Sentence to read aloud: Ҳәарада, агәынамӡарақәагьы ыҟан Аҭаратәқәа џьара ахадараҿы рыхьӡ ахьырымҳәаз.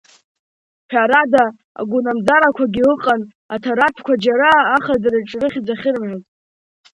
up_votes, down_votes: 1, 2